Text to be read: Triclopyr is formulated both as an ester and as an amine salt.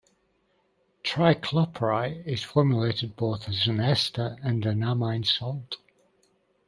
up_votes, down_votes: 1, 3